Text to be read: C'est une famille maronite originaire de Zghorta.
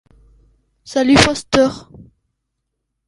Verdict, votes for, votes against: rejected, 0, 2